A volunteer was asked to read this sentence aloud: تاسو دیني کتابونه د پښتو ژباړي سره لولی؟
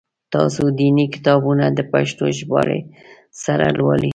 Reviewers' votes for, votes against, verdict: 5, 1, accepted